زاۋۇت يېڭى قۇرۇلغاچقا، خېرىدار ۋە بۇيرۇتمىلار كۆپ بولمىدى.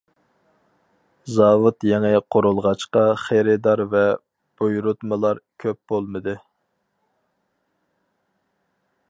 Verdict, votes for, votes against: accepted, 4, 0